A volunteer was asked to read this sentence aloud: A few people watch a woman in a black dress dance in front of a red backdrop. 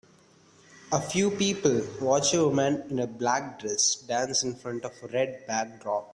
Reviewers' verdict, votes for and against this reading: accepted, 2, 0